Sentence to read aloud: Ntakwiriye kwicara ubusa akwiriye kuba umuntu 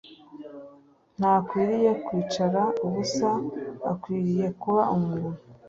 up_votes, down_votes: 3, 0